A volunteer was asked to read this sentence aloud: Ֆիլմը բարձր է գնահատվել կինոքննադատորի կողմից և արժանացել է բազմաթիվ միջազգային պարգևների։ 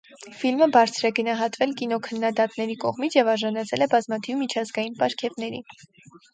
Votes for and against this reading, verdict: 0, 4, rejected